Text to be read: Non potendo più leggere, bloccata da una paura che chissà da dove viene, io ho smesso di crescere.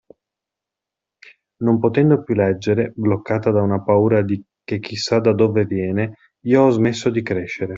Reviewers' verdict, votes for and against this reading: rejected, 1, 2